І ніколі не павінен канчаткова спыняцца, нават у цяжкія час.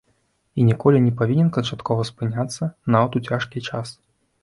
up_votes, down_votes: 2, 0